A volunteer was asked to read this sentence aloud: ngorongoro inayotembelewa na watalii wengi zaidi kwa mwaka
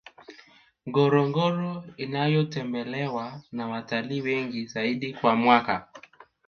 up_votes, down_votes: 1, 2